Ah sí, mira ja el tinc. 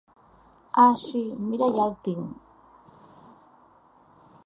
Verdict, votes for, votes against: accepted, 2, 0